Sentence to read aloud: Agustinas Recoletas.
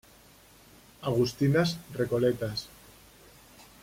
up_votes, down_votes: 2, 0